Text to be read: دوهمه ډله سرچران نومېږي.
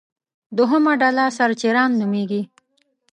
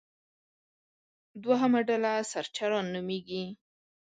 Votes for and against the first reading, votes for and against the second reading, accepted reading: 1, 2, 2, 0, second